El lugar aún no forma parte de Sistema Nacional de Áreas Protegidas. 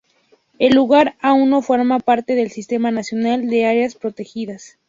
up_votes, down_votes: 2, 0